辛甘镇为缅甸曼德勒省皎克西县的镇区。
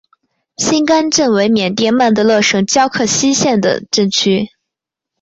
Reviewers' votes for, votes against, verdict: 2, 0, accepted